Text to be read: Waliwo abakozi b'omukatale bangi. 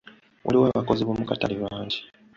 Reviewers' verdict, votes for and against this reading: accepted, 2, 0